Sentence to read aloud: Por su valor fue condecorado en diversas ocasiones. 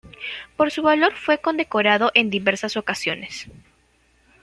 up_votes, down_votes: 2, 1